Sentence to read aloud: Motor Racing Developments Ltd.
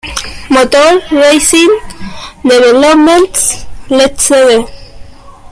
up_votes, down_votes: 0, 2